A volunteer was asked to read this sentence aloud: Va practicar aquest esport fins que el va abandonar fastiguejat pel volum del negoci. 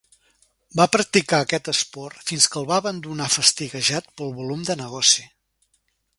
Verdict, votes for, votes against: rejected, 1, 2